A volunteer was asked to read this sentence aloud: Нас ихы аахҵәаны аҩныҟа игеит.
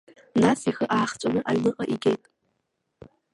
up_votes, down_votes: 0, 2